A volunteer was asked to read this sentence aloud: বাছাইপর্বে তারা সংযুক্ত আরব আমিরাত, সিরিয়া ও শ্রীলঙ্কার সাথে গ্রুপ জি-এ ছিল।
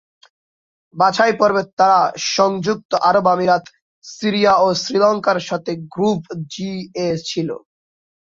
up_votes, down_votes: 8, 4